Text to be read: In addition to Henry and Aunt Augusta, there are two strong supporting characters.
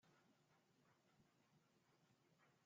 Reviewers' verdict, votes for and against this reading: rejected, 0, 2